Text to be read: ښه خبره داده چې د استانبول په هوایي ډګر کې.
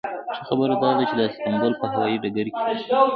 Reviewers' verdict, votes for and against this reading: accepted, 2, 1